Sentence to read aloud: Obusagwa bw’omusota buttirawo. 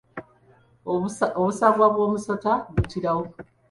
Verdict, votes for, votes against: rejected, 1, 3